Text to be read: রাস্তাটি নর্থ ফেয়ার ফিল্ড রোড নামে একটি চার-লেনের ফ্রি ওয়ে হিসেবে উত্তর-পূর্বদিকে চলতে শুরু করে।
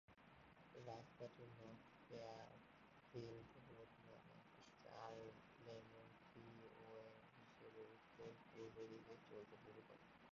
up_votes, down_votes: 0, 2